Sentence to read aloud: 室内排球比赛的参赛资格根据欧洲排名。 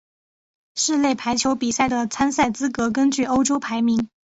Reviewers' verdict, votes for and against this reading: accepted, 2, 1